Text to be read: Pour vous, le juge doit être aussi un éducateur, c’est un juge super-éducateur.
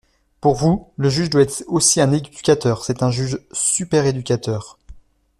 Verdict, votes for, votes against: rejected, 1, 2